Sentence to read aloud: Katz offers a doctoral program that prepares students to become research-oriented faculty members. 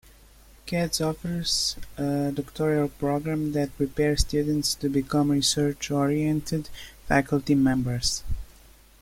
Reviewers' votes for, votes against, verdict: 2, 1, accepted